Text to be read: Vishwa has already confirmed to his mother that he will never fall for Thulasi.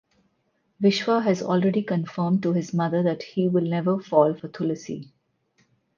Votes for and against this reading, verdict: 4, 0, accepted